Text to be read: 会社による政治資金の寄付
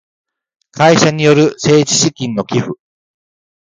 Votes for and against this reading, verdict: 2, 1, accepted